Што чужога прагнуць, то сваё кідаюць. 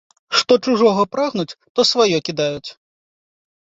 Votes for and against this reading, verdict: 2, 0, accepted